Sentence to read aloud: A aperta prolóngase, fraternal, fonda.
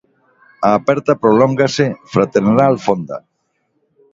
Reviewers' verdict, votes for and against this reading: rejected, 0, 2